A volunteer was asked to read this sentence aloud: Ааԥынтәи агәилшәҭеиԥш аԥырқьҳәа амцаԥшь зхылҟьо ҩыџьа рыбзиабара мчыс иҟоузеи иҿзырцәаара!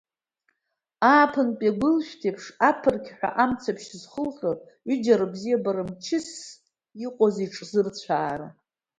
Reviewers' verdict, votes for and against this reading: accepted, 2, 1